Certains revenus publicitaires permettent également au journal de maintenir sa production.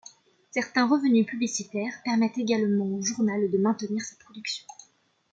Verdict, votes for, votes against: accepted, 2, 0